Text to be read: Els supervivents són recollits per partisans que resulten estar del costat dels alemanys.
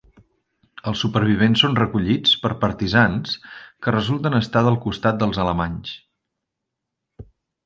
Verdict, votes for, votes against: accepted, 3, 0